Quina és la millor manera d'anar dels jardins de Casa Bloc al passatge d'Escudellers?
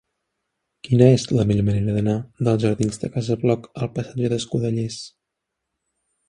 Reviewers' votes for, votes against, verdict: 1, 2, rejected